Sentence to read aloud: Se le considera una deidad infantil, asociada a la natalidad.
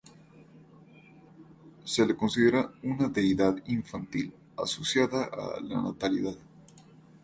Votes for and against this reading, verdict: 2, 2, rejected